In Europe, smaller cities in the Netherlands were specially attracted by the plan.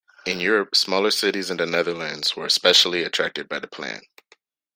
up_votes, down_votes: 2, 0